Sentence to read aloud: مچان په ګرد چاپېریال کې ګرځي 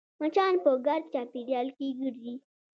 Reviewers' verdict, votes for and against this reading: accepted, 2, 0